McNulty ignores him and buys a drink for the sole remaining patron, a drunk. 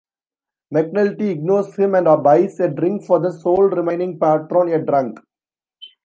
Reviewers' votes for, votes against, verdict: 2, 0, accepted